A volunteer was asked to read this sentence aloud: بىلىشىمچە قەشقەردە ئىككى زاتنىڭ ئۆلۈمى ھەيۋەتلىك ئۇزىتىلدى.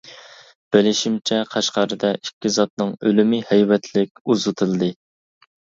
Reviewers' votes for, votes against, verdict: 2, 0, accepted